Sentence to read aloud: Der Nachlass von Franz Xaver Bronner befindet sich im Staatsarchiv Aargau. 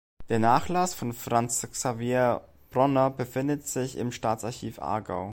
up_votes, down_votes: 2, 0